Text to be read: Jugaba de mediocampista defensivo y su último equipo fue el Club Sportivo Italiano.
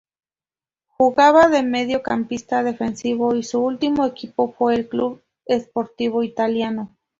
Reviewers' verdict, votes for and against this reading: accepted, 4, 0